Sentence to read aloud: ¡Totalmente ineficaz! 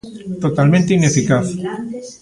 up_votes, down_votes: 1, 2